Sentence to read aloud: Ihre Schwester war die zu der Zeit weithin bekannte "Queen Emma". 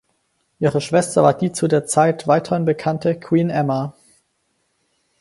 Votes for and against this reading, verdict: 4, 0, accepted